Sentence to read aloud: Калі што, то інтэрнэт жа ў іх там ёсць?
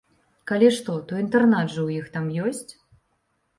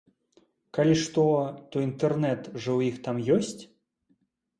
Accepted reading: second